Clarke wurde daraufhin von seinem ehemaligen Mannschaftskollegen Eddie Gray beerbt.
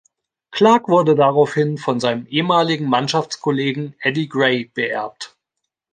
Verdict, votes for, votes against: accepted, 2, 0